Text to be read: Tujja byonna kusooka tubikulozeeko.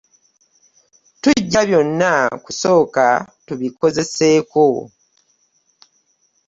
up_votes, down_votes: 0, 2